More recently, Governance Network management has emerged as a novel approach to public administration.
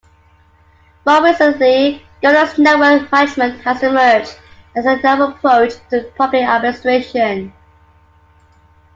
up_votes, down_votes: 2, 0